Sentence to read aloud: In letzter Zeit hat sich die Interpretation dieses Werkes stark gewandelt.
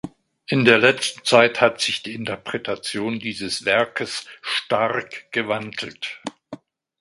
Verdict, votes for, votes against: rejected, 0, 2